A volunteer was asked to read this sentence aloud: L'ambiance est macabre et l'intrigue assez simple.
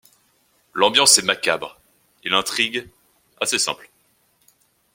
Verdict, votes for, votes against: rejected, 1, 2